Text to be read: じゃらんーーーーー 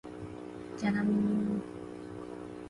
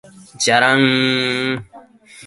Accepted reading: second